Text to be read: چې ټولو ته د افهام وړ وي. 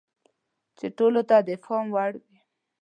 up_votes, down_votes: 2, 0